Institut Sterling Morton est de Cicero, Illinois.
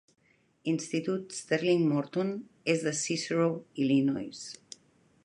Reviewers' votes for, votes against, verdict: 2, 0, accepted